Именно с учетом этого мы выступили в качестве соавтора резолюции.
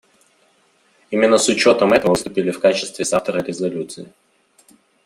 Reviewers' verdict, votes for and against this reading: rejected, 0, 2